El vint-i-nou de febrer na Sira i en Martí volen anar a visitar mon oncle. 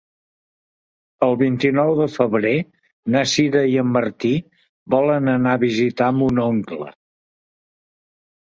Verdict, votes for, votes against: accepted, 2, 0